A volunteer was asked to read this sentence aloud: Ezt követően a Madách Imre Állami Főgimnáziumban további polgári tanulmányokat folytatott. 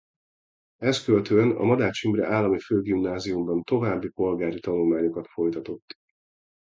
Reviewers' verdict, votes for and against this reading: accepted, 2, 0